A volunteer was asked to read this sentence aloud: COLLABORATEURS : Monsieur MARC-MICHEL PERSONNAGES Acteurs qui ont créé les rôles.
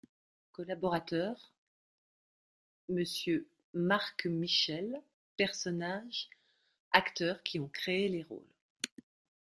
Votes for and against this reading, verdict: 1, 2, rejected